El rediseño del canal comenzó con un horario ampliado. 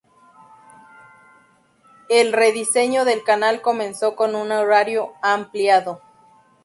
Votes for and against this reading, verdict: 2, 2, rejected